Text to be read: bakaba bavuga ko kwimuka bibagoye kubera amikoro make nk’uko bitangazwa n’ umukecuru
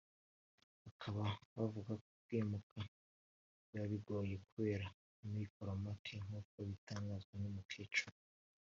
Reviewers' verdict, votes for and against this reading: rejected, 0, 2